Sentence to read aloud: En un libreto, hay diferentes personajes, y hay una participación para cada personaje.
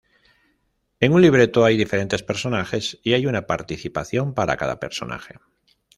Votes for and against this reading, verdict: 0, 2, rejected